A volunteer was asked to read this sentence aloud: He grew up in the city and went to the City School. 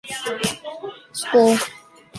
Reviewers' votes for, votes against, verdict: 0, 2, rejected